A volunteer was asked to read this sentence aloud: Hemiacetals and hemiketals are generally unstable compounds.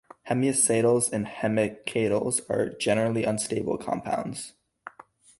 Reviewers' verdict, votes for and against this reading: accepted, 6, 2